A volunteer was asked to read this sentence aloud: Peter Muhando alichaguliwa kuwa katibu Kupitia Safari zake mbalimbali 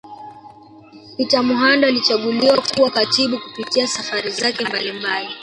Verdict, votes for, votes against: rejected, 0, 2